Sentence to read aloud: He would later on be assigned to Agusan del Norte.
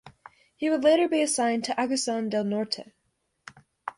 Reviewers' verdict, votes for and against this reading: rejected, 1, 2